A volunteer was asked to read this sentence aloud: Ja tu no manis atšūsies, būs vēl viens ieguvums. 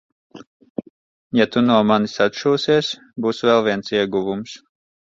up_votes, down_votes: 2, 0